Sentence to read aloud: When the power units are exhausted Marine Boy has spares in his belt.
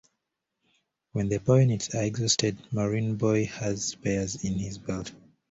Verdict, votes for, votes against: rejected, 0, 2